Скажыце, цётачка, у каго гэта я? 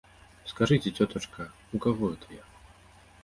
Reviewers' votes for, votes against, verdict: 1, 2, rejected